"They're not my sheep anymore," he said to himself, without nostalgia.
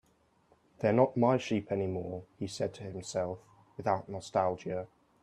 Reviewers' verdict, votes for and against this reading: accepted, 2, 0